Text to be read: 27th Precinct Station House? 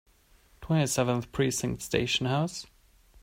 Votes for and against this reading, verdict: 0, 2, rejected